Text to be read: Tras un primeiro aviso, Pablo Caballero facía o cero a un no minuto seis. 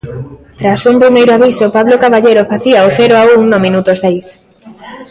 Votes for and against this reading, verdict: 2, 0, accepted